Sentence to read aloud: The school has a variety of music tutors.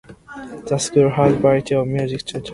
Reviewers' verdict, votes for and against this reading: rejected, 0, 2